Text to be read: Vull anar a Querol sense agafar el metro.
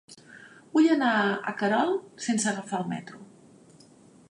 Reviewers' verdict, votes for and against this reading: accepted, 5, 0